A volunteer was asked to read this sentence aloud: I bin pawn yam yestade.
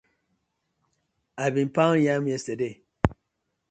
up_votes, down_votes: 2, 0